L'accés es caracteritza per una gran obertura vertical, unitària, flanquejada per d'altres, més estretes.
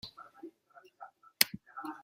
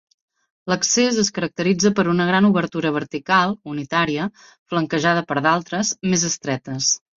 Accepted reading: second